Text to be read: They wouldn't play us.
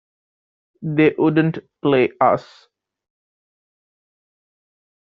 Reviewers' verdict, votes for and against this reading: rejected, 1, 2